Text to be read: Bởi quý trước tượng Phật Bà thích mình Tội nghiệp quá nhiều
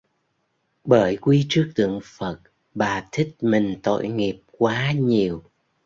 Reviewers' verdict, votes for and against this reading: accepted, 2, 1